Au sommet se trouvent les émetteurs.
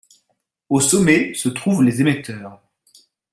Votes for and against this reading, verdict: 1, 2, rejected